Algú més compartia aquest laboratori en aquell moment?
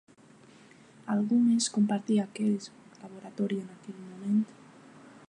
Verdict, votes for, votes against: accepted, 3, 1